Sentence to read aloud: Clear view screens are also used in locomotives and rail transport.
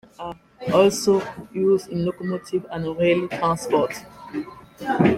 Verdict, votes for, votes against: rejected, 0, 2